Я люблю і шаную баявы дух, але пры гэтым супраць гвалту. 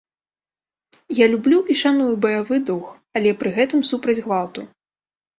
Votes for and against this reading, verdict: 2, 0, accepted